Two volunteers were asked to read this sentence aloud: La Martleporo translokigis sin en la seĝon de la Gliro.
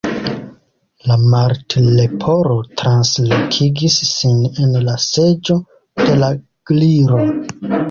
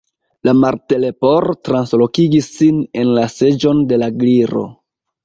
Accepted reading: second